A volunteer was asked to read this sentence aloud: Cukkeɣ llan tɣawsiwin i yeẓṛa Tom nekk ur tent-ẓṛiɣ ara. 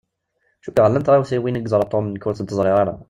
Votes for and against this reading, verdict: 2, 0, accepted